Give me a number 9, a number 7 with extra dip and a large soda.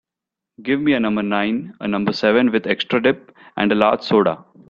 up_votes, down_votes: 0, 2